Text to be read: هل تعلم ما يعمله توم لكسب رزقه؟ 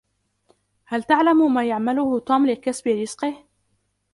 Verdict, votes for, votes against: accepted, 2, 0